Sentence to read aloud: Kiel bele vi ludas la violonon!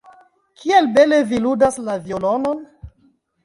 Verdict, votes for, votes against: rejected, 1, 2